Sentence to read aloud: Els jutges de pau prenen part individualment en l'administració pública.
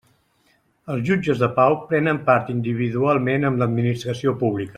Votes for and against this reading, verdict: 0, 2, rejected